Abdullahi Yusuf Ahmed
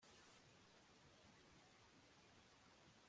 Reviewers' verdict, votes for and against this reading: rejected, 0, 2